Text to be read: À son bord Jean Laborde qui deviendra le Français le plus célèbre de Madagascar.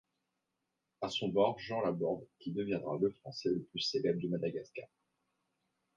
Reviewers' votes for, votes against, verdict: 2, 0, accepted